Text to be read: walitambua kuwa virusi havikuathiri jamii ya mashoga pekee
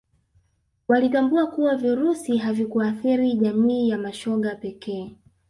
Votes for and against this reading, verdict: 2, 0, accepted